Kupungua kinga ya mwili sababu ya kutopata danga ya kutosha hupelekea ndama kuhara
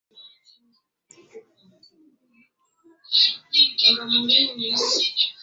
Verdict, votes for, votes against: rejected, 0, 2